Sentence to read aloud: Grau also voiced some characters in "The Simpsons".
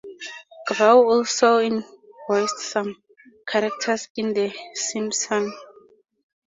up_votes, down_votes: 0, 2